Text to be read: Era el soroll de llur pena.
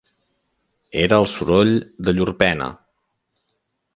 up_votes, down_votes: 2, 0